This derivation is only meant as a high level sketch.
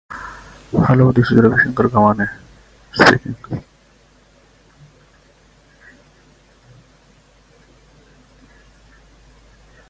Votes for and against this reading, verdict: 0, 2, rejected